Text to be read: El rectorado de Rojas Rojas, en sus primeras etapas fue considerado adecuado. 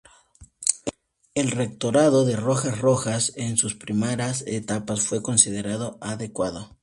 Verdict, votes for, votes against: accepted, 2, 0